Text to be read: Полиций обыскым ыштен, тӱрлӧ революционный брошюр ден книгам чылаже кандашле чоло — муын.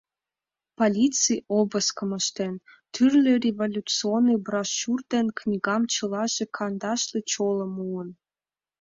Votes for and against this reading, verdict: 2, 0, accepted